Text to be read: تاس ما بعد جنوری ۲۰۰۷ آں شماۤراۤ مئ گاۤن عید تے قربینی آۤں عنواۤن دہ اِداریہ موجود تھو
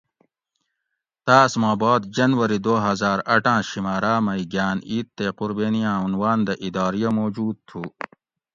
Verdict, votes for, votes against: rejected, 0, 2